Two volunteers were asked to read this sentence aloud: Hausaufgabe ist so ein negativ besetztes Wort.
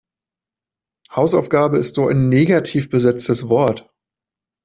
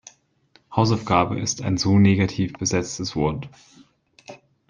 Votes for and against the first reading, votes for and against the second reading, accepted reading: 2, 0, 0, 2, first